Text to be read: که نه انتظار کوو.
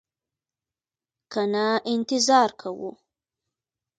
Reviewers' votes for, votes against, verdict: 2, 0, accepted